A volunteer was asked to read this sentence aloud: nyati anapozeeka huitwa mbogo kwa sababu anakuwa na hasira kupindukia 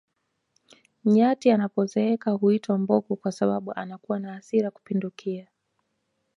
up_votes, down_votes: 2, 0